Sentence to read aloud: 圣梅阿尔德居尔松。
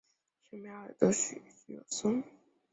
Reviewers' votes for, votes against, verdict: 0, 2, rejected